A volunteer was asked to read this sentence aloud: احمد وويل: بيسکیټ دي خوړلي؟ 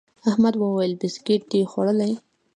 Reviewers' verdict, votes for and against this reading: rejected, 1, 2